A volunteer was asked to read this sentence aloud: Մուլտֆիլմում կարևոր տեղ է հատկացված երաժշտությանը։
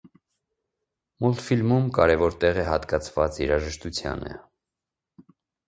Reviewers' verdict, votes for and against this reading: rejected, 0, 2